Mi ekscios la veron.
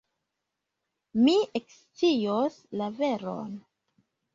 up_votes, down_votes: 1, 2